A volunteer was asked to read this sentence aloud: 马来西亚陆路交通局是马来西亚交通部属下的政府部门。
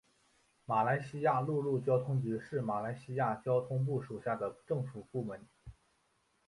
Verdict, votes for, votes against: accepted, 2, 1